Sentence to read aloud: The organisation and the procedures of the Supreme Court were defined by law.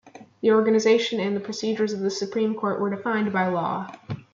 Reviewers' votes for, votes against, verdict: 0, 2, rejected